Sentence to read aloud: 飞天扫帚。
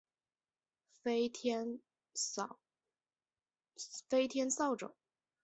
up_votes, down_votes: 1, 2